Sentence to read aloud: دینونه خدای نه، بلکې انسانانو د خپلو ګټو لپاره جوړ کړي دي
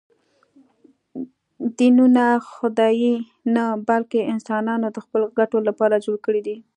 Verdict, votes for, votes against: accepted, 2, 0